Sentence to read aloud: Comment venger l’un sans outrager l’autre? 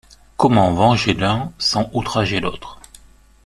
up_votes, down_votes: 2, 0